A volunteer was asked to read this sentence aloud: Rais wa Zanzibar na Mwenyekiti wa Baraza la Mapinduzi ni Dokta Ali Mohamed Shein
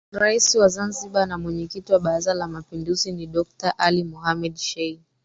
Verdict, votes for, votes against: rejected, 1, 2